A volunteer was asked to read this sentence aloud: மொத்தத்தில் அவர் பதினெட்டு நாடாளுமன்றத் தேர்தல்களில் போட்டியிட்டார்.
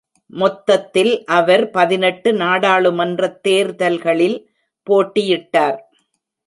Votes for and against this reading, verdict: 2, 0, accepted